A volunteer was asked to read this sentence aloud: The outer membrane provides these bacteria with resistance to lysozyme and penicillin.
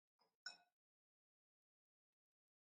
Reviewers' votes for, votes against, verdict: 0, 2, rejected